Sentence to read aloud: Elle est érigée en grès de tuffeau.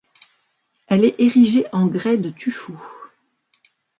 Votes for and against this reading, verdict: 1, 2, rejected